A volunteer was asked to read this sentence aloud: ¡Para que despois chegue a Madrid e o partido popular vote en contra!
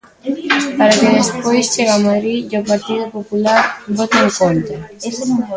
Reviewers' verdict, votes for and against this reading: rejected, 0, 2